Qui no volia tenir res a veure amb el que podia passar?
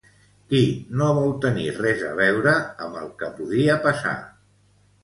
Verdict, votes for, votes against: rejected, 0, 3